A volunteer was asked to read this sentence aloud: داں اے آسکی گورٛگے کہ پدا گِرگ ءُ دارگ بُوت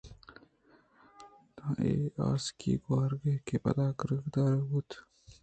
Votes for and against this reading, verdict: 1, 2, rejected